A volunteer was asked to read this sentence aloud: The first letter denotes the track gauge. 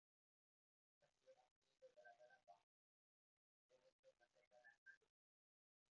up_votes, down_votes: 0, 2